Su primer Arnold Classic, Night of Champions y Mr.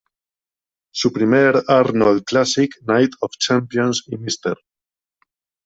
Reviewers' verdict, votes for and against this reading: rejected, 1, 2